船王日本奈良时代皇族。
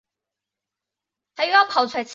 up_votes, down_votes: 0, 2